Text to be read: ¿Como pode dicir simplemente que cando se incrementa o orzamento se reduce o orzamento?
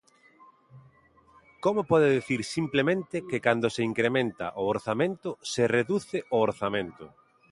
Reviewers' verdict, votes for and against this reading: accepted, 2, 0